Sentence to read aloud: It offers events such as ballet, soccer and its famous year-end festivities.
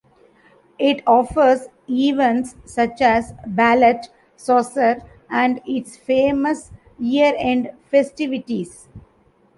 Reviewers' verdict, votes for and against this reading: rejected, 0, 2